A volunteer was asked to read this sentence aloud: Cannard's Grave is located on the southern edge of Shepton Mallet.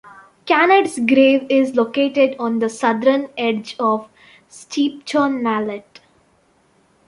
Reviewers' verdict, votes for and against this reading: rejected, 0, 2